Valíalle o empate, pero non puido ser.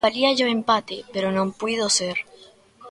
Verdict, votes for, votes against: accepted, 2, 0